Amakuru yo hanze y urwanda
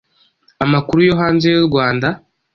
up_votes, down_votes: 2, 0